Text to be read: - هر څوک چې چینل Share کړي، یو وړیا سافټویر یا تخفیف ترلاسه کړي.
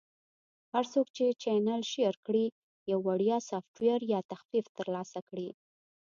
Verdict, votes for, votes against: accepted, 2, 0